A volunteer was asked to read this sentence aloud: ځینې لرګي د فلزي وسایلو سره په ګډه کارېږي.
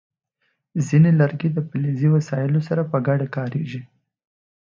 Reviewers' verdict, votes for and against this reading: accepted, 2, 0